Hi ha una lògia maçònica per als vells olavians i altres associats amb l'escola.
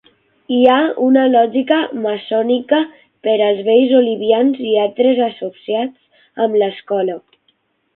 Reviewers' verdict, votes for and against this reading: rejected, 0, 6